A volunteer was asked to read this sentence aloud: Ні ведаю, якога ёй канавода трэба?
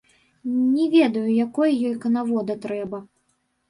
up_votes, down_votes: 1, 2